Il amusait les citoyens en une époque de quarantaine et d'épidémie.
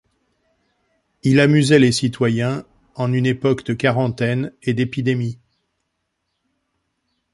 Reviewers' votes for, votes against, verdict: 2, 0, accepted